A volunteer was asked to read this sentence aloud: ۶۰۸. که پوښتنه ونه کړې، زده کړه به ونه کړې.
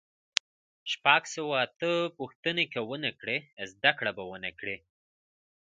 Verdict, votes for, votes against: rejected, 0, 2